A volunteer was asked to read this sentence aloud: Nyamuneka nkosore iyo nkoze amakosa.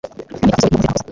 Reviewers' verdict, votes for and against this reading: rejected, 1, 2